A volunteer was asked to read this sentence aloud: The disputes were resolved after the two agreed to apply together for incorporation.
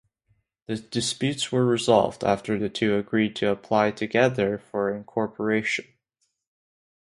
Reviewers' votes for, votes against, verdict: 2, 0, accepted